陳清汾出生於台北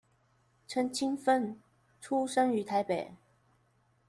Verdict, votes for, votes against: accepted, 2, 0